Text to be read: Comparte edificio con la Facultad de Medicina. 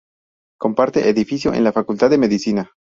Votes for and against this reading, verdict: 0, 2, rejected